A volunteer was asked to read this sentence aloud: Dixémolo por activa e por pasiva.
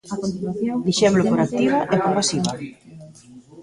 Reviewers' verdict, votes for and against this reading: rejected, 0, 2